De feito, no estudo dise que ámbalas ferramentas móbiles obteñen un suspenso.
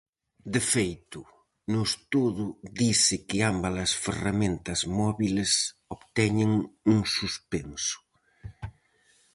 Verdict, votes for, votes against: rejected, 2, 2